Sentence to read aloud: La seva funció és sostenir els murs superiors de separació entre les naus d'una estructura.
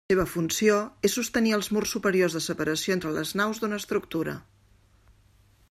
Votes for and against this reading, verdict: 1, 2, rejected